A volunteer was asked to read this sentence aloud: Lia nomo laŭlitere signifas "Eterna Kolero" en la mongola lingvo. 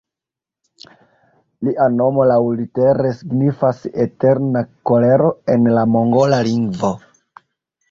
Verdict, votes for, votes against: accepted, 2, 1